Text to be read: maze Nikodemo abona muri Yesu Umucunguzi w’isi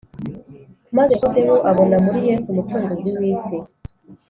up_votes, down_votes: 3, 0